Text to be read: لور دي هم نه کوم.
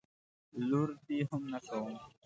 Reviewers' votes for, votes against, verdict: 3, 1, accepted